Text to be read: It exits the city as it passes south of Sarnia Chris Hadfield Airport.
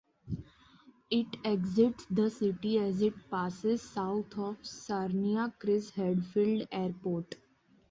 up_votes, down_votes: 2, 0